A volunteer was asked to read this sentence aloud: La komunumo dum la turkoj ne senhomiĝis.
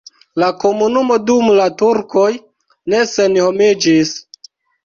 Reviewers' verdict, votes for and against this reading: rejected, 1, 2